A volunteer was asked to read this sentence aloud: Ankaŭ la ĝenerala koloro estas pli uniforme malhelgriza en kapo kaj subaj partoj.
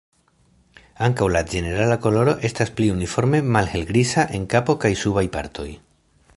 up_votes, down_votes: 1, 2